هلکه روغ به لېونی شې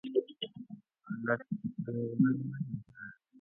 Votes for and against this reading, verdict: 1, 2, rejected